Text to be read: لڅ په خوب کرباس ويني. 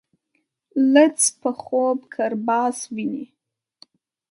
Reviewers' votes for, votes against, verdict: 1, 2, rejected